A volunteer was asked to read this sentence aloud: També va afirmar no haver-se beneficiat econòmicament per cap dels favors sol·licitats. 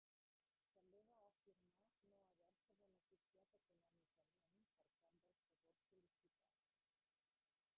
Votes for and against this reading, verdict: 1, 2, rejected